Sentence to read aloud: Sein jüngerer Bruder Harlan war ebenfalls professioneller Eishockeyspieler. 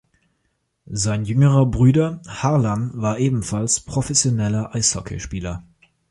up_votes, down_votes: 1, 2